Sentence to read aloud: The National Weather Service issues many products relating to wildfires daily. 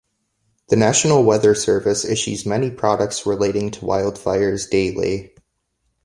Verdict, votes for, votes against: accepted, 2, 0